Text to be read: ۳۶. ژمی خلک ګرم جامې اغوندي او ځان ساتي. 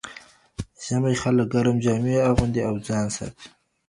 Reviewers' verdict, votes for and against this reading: rejected, 0, 2